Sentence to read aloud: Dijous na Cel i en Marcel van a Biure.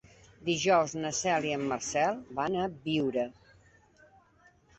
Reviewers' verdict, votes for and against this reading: accepted, 3, 0